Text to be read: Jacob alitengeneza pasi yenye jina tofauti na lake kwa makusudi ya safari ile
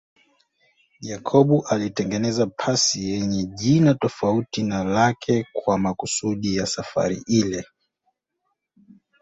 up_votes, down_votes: 0, 2